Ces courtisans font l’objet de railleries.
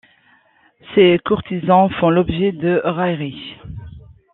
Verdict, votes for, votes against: accepted, 2, 1